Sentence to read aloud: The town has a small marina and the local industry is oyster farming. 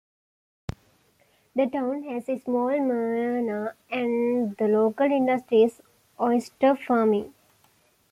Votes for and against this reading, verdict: 2, 1, accepted